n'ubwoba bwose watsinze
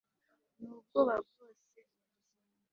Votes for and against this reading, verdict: 1, 2, rejected